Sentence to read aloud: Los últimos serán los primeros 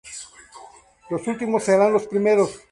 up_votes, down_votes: 2, 0